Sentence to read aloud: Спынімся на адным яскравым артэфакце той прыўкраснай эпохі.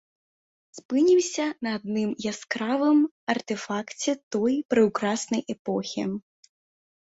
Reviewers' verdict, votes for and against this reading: accepted, 2, 0